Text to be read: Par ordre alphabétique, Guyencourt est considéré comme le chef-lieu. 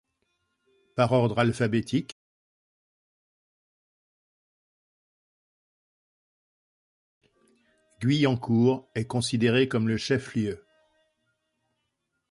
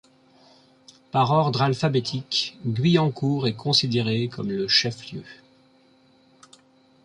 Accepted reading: second